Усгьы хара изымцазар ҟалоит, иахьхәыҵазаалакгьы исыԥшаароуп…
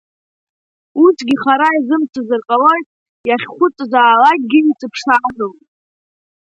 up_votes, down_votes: 2, 0